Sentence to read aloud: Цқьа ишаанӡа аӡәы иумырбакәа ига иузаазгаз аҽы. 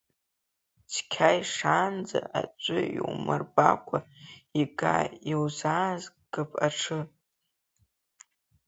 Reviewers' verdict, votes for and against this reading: rejected, 3, 4